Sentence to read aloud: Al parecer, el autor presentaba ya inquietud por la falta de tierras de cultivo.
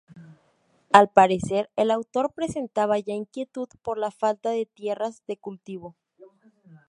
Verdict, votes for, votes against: accepted, 2, 0